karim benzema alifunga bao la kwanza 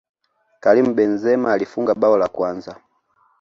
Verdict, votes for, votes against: accepted, 2, 0